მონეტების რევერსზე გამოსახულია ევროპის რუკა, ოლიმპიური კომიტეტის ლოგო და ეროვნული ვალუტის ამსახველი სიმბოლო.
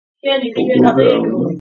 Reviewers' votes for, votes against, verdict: 0, 2, rejected